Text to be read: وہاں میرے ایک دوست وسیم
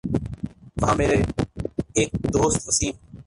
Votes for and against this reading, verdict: 0, 2, rejected